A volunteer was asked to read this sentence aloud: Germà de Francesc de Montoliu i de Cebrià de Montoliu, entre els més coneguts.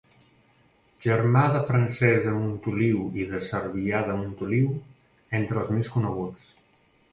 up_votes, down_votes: 1, 2